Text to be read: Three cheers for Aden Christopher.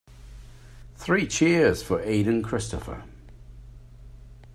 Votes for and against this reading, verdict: 4, 0, accepted